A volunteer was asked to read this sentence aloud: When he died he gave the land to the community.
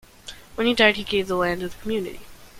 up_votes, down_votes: 1, 2